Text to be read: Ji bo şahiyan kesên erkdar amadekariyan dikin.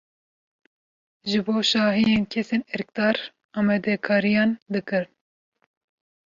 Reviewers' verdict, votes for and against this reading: rejected, 1, 2